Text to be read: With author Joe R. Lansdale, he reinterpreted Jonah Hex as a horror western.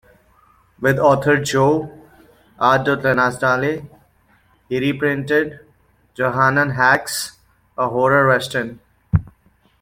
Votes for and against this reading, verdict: 1, 2, rejected